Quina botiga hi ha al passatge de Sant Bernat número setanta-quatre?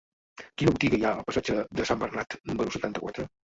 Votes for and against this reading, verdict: 2, 1, accepted